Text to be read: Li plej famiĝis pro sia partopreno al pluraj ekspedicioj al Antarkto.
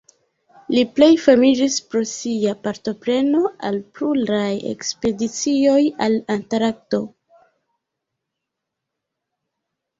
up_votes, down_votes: 0, 2